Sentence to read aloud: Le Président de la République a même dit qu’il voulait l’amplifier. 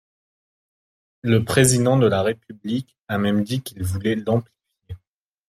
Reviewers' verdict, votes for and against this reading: rejected, 0, 2